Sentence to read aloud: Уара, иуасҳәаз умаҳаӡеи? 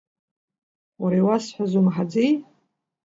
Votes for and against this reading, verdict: 2, 0, accepted